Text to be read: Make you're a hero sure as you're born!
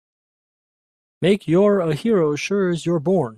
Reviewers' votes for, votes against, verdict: 2, 0, accepted